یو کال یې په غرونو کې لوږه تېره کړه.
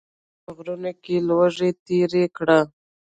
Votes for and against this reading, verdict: 0, 2, rejected